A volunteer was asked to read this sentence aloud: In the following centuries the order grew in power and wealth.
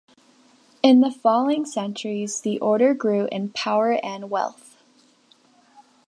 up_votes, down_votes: 2, 0